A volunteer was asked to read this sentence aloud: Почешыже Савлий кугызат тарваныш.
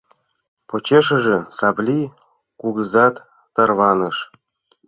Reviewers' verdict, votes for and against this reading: accepted, 2, 0